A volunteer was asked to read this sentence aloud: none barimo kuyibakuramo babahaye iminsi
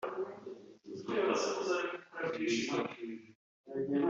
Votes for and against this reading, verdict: 2, 3, rejected